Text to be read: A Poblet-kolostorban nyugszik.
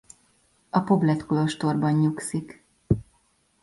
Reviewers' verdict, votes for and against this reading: accepted, 2, 0